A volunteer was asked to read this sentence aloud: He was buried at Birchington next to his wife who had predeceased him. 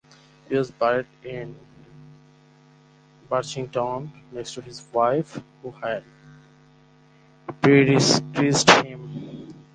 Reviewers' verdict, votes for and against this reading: rejected, 4, 4